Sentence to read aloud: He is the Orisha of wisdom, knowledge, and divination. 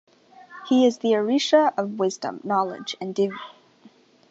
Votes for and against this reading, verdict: 0, 2, rejected